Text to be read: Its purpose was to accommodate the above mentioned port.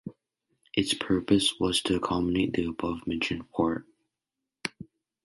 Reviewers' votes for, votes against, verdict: 2, 0, accepted